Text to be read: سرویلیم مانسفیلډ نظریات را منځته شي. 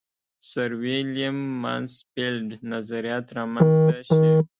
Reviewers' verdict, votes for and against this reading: rejected, 1, 2